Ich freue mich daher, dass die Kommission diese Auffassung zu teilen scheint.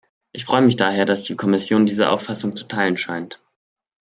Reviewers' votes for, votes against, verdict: 2, 0, accepted